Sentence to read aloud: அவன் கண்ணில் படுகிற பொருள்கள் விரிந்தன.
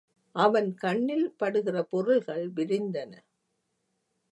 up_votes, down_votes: 2, 0